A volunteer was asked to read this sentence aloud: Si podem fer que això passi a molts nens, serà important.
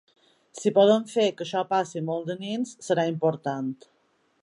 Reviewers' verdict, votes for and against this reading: rejected, 0, 2